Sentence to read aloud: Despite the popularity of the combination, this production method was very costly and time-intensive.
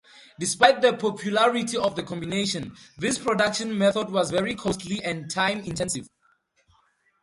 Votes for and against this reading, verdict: 2, 0, accepted